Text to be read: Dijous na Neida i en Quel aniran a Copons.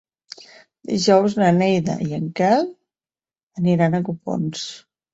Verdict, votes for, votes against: accepted, 6, 0